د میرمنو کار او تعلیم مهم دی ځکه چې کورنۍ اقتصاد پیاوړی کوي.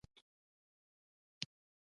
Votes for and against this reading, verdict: 1, 2, rejected